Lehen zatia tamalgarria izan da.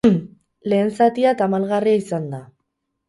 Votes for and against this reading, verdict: 2, 4, rejected